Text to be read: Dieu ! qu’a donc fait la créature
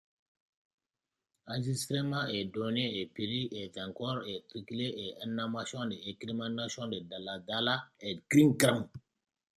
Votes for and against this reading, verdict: 0, 2, rejected